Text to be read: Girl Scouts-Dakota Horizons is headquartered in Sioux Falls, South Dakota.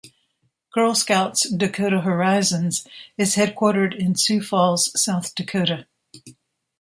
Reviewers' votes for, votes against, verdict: 2, 0, accepted